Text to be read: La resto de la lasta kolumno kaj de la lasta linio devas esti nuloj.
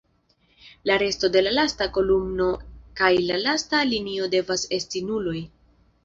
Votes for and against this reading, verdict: 1, 2, rejected